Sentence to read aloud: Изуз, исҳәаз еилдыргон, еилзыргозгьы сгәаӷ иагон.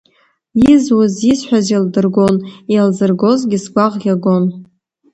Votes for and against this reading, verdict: 2, 0, accepted